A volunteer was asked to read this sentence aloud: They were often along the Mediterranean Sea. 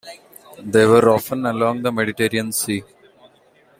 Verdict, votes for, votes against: accepted, 2, 1